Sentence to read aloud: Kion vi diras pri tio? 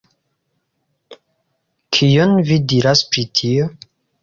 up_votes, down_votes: 2, 1